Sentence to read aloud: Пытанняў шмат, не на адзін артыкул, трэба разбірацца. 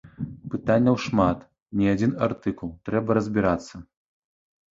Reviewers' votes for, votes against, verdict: 1, 2, rejected